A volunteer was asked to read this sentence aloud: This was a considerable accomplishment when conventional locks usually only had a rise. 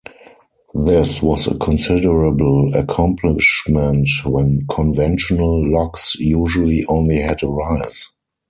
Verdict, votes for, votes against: accepted, 4, 0